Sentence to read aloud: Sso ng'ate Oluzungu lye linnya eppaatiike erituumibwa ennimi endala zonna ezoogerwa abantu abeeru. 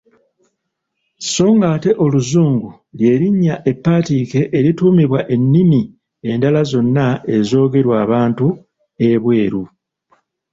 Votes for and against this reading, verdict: 0, 2, rejected